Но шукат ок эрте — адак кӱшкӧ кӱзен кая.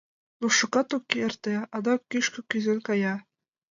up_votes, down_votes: 2, 0